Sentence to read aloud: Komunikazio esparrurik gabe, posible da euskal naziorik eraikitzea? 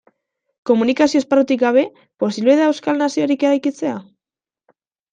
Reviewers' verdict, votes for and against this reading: rejected, 1, 2